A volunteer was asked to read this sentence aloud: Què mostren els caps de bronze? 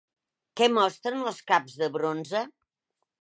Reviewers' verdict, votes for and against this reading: accepted, 2, 0